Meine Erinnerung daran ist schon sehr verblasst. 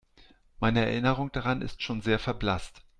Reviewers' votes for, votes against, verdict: 2, 0, accepted